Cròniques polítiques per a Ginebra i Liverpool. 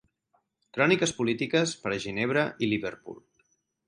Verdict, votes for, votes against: accepted, 6, 0